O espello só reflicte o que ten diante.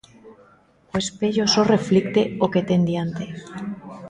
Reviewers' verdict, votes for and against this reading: accepted, 2, 0